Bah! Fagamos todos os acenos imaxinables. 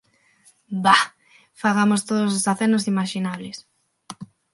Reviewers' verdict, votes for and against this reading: accepted, 6, 0